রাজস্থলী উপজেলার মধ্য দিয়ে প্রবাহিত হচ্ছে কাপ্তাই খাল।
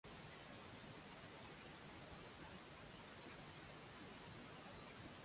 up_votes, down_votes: 0, 2